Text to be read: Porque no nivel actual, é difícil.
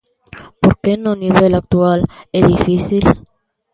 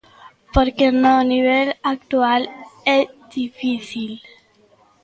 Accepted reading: first